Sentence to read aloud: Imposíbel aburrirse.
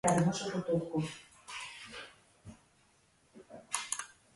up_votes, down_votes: 0, 2